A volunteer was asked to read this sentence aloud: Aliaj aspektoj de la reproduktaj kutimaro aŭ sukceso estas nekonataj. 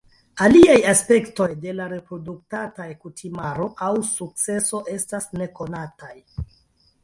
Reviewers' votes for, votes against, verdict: 2, 1, accepted